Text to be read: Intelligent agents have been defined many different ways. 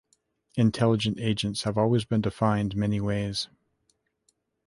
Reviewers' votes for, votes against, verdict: 0, 2, rejected